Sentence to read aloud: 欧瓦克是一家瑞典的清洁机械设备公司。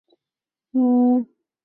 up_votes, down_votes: 2, 3